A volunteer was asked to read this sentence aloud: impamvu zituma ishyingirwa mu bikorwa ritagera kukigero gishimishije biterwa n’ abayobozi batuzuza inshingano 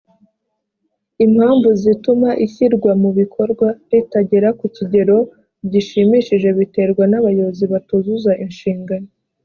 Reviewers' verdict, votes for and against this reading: rejected, 2, 3